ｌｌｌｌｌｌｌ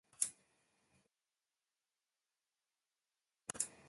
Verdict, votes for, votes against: rejected, 0, 2